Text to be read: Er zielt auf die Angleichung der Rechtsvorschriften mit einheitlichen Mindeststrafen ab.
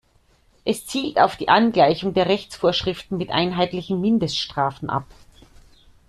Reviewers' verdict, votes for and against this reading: rejected, 0, 2